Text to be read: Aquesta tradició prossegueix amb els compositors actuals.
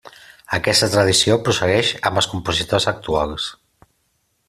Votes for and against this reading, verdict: 2, 0, accepted